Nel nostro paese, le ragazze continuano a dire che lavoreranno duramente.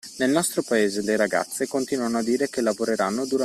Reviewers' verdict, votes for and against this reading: rejected, 0, 2